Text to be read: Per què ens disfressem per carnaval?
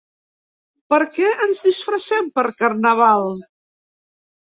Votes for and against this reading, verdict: 3, 0, accepted